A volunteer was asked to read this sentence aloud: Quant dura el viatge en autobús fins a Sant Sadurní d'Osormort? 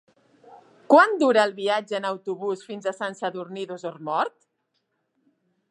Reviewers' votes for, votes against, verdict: 2, 0, accepted